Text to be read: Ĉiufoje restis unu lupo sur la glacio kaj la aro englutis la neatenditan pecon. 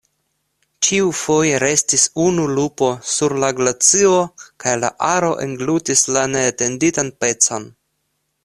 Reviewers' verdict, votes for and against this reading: accepted, 2, 1